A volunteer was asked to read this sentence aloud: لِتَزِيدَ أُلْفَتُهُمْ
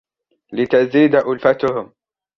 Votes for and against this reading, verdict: 1, 2, rejected